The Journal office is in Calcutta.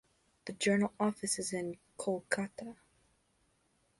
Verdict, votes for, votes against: accepted, 2, 0